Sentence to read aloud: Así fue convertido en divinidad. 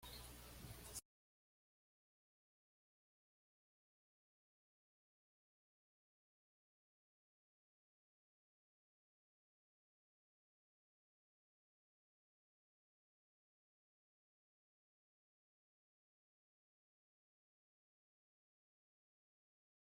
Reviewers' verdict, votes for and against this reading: rejected, 1, 2